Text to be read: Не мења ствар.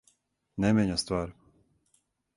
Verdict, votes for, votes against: accepted, 4, 0